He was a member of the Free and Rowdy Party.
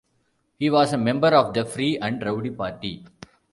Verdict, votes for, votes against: accepted, 2, 0